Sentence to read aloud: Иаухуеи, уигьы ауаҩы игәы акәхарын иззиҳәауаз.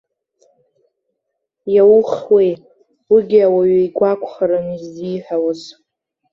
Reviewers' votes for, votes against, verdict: 1, 2, rejected